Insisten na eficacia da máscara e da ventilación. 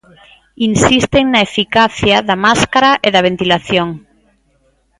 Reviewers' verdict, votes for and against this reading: accepted, 2, 1